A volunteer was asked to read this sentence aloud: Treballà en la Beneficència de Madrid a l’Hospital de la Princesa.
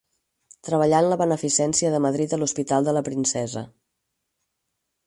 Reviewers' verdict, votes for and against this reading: accepted, 4, 0